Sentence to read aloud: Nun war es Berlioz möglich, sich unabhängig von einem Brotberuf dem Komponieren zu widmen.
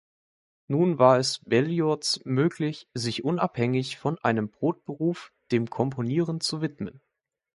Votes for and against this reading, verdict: 2, 0, accepted